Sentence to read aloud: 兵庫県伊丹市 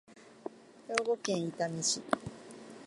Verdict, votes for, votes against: accepted, 2, 0